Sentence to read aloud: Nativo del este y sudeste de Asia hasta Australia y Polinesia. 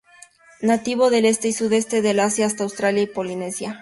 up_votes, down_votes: 2, 0